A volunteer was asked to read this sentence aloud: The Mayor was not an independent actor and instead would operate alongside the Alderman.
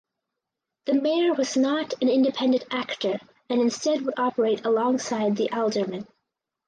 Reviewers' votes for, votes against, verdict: 4, 0, accepted